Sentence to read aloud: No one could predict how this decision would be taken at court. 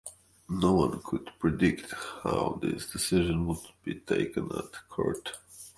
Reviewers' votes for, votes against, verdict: 2, 0, accepted